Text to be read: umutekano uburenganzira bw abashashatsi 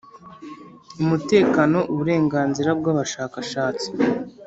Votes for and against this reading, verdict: 1, 2, rejected